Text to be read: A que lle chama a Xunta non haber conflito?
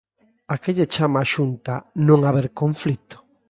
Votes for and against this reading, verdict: 3, 0, accepted